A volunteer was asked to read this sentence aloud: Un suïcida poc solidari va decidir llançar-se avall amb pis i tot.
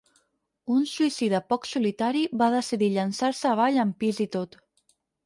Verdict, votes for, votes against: rejected, 2, 4